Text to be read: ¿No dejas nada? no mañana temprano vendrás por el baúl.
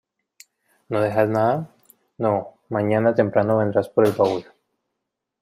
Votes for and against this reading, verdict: 2, 0, accepted